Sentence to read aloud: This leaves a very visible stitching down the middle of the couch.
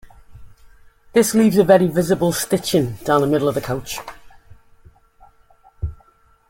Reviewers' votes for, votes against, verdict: 2, 0, accepted